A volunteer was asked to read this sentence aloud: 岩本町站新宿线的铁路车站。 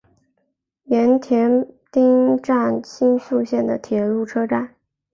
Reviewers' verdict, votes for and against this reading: rejected, 1, 3